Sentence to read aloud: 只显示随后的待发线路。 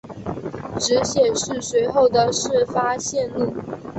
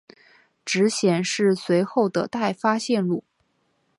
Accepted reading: second